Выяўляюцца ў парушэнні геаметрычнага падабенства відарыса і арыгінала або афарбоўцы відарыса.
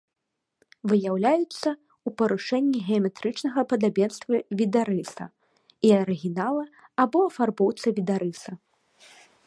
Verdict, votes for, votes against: accepted, 2, 0